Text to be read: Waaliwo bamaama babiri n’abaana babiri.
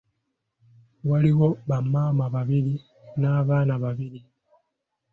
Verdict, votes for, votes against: accepted, 2, 0